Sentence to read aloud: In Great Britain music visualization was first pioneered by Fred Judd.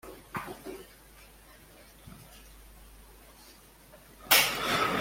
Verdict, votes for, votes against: rejected, 1, 2